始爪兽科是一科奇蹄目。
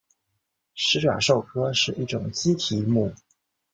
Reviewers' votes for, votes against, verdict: 1, 2, rejected